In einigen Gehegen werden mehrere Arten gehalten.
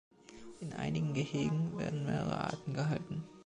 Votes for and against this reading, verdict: 2, 0, accepted